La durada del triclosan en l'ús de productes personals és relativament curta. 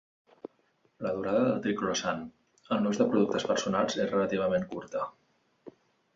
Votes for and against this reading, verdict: 1, 2, rejected